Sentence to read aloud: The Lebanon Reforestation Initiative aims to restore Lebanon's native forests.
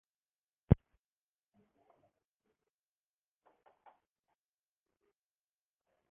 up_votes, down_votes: 0, 2